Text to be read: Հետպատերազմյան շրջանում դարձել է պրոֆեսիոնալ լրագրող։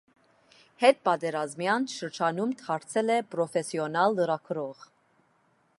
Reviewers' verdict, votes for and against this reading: accepted, 2, 0